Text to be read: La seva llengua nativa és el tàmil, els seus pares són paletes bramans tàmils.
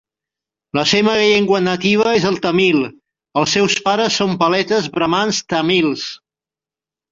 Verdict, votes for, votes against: accepted, 3, 1